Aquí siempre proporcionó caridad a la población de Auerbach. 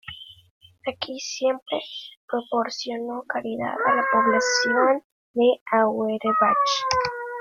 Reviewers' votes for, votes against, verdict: 0, 2, rejected